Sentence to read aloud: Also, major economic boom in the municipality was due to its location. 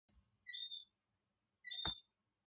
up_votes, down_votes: 0, 2